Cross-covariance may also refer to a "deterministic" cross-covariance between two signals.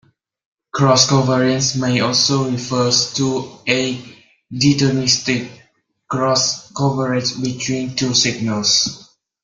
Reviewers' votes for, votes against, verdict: 0, 2, rejected